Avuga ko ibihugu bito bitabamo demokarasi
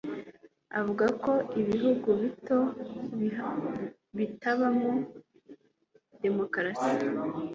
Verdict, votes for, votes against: accepted, 2, 1